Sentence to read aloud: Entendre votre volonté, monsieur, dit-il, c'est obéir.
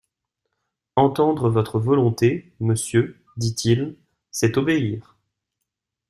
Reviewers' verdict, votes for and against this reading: accepted, 2, 0